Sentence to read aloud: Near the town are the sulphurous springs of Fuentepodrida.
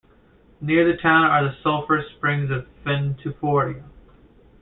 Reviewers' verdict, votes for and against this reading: rejected, 0, 2